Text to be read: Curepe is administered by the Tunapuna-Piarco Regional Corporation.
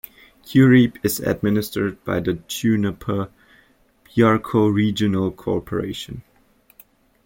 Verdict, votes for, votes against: rejected, 0, 2